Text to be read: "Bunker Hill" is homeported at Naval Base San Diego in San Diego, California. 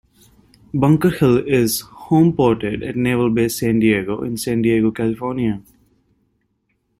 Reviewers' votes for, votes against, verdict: 2, 0, accepted